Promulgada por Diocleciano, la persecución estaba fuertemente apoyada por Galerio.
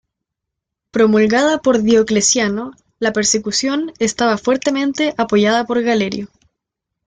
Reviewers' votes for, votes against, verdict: 2, 0, accepted